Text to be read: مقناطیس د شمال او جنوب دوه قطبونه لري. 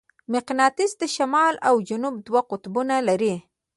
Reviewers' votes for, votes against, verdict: 0, 2, rejected